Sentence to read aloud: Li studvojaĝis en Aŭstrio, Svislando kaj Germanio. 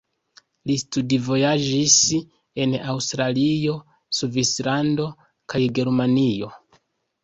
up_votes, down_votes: 1, 2